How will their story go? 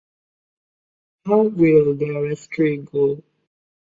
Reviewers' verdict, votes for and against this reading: rejected, 1, 2